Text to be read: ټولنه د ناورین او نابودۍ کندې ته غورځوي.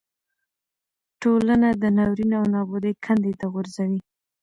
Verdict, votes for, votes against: rejected, 1, 2